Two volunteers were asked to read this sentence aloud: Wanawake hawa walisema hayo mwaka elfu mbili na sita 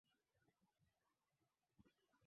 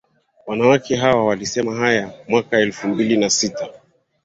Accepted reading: second